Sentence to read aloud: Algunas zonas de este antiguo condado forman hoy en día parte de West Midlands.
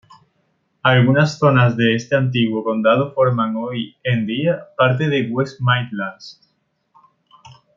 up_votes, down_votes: 2, 0